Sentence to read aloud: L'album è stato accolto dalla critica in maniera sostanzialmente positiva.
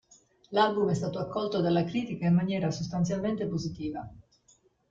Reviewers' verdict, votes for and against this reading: accepted, 2, 0